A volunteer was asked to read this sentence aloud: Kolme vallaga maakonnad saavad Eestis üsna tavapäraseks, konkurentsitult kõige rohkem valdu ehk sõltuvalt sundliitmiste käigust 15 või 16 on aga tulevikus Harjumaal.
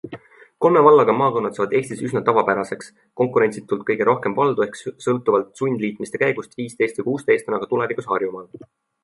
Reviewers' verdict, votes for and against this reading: rejected, 0, 2